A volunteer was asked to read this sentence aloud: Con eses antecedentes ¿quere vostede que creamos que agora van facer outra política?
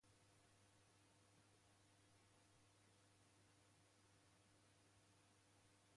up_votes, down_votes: 0, 2